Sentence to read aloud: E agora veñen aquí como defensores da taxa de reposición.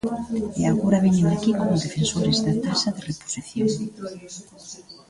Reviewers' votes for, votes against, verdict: 2, 0, accepted